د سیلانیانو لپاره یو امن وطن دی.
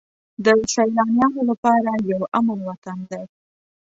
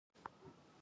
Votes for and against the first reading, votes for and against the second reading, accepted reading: 2, 0, 1, 2, first